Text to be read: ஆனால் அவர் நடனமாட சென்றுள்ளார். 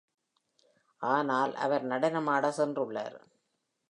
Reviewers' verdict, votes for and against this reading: accepted, 2, 0